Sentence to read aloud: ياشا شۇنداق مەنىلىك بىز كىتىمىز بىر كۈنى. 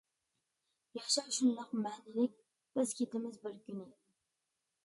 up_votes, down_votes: 0, 2